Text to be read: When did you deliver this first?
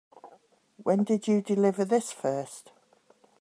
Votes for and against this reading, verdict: 2, 1, accepted